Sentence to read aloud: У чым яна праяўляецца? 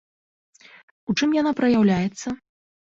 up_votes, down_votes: 2, 0